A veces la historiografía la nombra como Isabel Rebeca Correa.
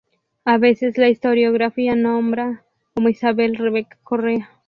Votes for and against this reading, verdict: 0, 2, rejected